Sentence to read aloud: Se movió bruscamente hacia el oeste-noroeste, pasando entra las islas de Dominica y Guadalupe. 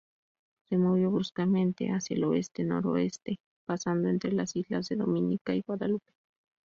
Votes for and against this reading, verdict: 2, 0, accepted